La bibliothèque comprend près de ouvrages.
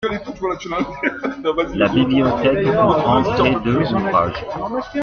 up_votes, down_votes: 2, 0